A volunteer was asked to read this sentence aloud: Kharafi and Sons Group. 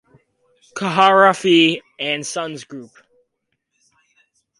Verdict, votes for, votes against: rejected, 2, 4